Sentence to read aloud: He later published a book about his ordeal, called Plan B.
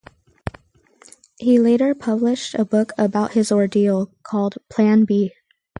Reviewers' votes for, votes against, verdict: 4, 0, accepted